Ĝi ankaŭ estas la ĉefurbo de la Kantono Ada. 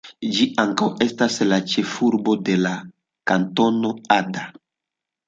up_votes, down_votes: 2, 0